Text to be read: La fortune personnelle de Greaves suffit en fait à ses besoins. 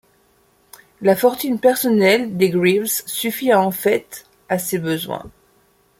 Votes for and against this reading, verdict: 1, 2, rejected